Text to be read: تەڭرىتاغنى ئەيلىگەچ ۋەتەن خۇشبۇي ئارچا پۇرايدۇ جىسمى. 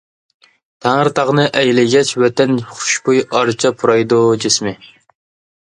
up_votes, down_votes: 2, 0